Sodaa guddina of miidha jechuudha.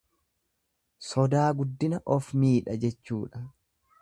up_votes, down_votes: 2, 0